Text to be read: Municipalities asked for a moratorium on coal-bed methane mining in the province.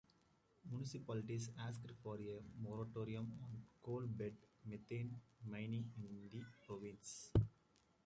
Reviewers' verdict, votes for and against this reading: accepted, 2, 0